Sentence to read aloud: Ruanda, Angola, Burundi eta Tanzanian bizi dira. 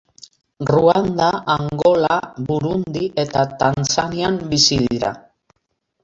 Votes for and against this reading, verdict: 3, 2, accepted